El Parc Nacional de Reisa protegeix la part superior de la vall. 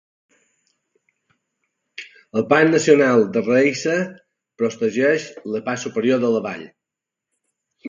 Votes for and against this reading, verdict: 0, 2, rejected